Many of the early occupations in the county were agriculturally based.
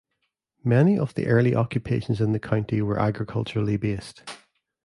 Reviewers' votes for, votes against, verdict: 2, 0, accepted